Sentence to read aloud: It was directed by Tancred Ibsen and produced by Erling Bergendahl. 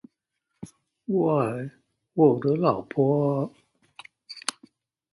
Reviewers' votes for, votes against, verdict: 0, 2, rejected